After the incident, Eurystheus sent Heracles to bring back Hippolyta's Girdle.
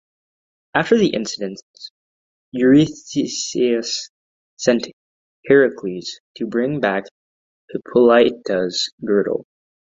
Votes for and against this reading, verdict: 0, 2, rejected